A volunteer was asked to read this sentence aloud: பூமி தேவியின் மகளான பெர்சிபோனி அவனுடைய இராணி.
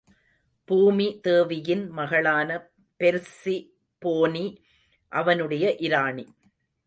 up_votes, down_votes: 1, 2